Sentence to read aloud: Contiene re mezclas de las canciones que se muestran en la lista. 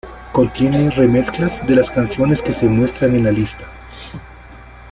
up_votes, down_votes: 2, 0